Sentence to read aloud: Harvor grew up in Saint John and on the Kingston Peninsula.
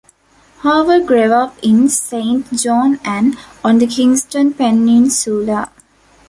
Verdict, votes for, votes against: rejected, 0, 2